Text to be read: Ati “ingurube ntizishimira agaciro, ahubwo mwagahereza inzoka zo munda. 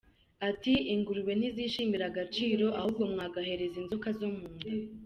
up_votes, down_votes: 2, 0